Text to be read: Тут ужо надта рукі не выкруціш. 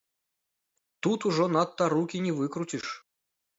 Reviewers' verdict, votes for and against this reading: rejected, 1, 2